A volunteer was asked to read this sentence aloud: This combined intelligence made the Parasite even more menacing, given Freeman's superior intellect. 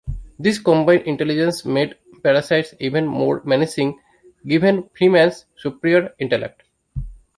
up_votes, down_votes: 1, 2